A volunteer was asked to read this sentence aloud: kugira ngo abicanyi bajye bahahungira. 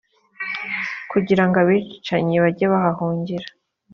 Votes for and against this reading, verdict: 2, 0, accepted